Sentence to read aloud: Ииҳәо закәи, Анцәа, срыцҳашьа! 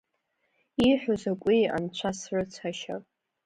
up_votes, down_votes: 2, 0